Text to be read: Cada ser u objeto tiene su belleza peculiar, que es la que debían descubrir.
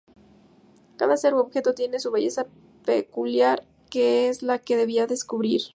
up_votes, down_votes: 0, 2